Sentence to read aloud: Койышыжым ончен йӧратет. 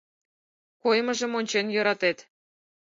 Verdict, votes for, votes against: rejected, 2, 4